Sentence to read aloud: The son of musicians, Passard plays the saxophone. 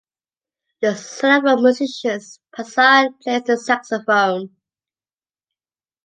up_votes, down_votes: 2, 0